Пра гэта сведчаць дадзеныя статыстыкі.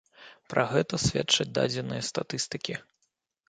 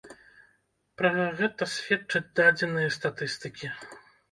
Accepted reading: first